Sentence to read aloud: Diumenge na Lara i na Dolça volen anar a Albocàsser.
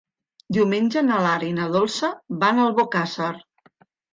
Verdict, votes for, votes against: rejected, 0, 2